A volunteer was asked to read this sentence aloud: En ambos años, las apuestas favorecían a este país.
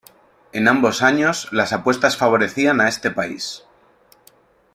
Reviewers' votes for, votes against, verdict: 2, 0, accepted